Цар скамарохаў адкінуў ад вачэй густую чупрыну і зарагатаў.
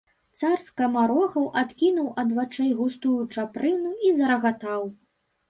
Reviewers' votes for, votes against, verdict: 2, 1, accepted